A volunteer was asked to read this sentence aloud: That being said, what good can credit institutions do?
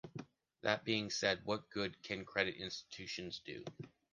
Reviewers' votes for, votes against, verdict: 2, 0, accepted